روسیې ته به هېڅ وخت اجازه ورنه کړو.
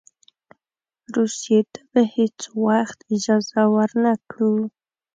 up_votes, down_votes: 2, 0